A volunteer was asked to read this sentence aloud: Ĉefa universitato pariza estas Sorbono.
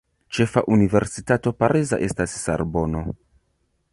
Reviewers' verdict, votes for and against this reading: rejected, 1, 2